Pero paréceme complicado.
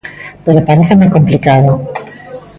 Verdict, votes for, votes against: rejected, 1, 2